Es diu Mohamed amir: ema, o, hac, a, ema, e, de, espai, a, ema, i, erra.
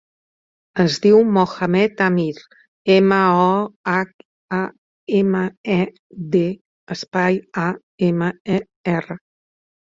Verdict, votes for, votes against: rejected, 1, 2